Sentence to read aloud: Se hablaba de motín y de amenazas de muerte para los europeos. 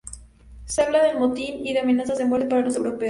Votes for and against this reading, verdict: 0, 2, rejected